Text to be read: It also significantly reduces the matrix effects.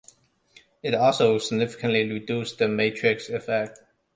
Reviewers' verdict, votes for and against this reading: rejected, 0, 2